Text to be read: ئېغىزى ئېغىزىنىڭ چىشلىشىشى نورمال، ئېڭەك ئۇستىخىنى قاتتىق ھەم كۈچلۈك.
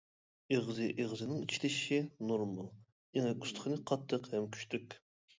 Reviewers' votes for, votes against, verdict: 2, 1, accepted